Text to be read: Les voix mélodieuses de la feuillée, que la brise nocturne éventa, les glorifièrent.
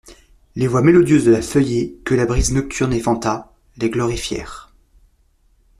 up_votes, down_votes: 2, 0